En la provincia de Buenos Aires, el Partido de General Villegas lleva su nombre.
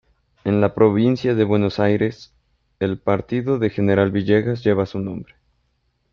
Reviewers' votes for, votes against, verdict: 2, 0, accepted